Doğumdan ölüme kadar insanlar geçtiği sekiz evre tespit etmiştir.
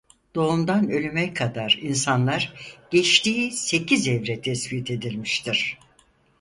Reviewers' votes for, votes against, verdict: 2, 4, rejected